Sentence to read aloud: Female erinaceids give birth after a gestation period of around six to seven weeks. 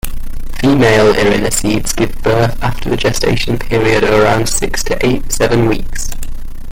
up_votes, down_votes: 0, 2